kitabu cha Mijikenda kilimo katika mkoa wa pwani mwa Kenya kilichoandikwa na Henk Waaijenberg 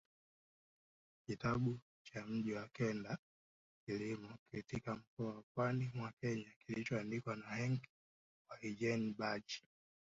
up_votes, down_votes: 0, 2